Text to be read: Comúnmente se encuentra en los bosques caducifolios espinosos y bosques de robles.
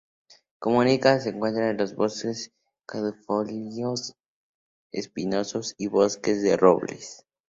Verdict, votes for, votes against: rejected, 0, 2